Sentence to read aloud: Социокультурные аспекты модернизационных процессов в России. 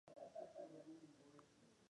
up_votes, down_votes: 0, 2